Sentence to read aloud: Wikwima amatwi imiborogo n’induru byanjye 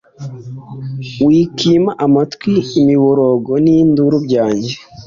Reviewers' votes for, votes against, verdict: 3, 0, accepted